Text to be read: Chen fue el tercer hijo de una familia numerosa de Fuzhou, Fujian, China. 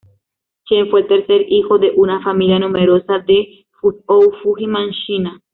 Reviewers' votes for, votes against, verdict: 2, 0, accepted